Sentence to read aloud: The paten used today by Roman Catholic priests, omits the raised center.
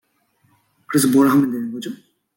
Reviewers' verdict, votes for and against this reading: rejected, 0, 2